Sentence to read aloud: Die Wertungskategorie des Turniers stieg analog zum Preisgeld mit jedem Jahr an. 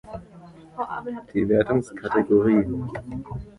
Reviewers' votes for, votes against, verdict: 0, 2, rejected